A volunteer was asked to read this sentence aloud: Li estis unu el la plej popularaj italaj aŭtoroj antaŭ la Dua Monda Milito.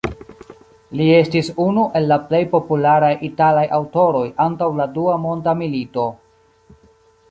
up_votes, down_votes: 2, 0